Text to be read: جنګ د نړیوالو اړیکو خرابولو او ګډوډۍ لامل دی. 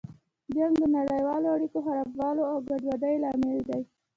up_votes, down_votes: 1, 2